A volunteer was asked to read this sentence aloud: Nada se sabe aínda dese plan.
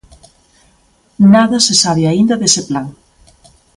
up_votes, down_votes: 2, 0